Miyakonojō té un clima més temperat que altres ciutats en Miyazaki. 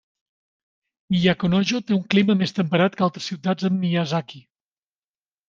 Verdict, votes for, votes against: accepted, 2, 0